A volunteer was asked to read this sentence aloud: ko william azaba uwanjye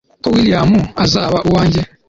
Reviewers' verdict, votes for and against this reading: accepted, 2, 0